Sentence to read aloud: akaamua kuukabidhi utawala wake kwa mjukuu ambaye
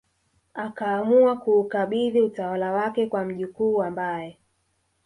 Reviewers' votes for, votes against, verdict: 2, 1, accepted